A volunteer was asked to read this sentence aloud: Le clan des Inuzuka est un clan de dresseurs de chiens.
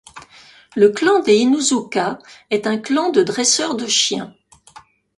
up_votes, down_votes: 2, 0